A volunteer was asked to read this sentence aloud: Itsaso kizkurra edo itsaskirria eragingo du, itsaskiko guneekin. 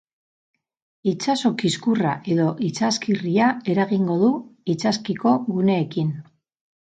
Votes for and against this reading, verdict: 0, 4, rejected